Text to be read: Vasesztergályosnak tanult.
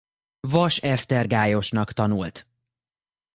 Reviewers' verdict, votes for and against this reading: accepted, 2, 0